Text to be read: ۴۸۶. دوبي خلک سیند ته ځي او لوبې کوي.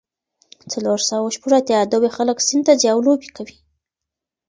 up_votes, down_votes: 0, 2